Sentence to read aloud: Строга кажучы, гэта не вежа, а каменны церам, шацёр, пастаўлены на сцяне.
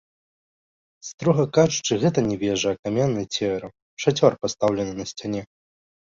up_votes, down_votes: 2, 0